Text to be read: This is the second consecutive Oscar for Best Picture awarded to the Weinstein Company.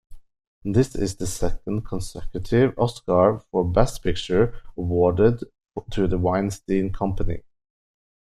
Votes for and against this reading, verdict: 2, 0, accepted